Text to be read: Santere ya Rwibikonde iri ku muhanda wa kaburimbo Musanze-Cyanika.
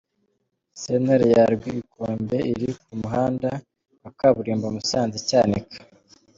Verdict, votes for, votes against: rejected, 1, 2